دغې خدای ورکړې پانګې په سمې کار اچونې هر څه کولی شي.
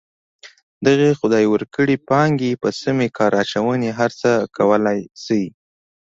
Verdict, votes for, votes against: accepted, 2, 0